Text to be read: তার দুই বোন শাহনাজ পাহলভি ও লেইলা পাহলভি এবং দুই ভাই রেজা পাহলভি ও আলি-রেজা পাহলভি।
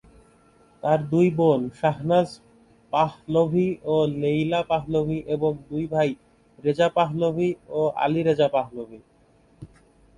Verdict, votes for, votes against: rejected, 1, 2